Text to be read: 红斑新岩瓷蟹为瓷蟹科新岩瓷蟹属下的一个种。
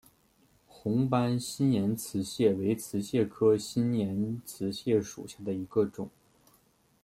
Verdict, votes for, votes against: accepted, 2, 0